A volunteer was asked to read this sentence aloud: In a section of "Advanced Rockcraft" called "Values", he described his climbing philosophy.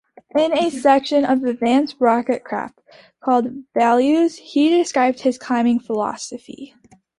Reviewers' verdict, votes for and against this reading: accepted, 2, 0